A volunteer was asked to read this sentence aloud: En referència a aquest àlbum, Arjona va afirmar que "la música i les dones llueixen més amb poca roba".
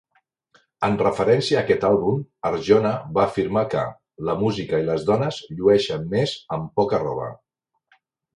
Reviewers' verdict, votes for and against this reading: accepted, 2, 0